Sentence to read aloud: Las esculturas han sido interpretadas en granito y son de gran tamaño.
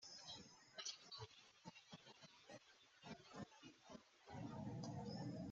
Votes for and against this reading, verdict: 0, 2, rejected